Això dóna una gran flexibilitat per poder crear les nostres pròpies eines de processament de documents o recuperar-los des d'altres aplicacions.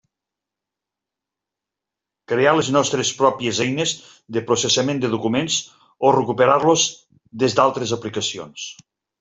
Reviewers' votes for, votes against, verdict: 0, 2, rejected